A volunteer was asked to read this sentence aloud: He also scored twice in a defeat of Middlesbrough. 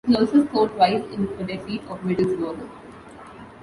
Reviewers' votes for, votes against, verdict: 1, 2, rejected